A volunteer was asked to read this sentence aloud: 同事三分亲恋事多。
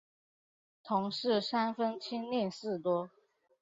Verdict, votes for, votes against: accepted, 6, 0